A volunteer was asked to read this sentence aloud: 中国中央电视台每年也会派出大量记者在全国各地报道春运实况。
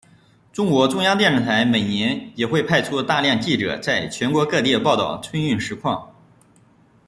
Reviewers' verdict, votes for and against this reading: rejected, 0, 2